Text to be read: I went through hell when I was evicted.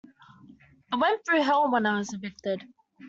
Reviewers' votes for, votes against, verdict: 2, 0, accepted